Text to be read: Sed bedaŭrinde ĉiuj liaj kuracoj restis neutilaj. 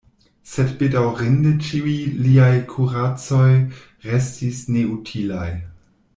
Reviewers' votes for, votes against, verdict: 2, 0, accepted